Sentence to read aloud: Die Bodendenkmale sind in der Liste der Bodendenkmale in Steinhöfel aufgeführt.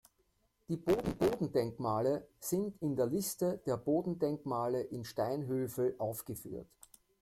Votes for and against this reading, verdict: 0, 2, rejected